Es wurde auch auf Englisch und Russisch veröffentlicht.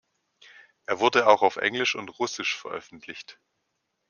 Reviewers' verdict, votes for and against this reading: rejected, 0, 2